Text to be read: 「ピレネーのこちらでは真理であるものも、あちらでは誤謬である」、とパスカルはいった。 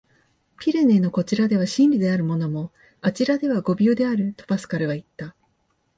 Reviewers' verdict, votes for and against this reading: accepted, 2, 1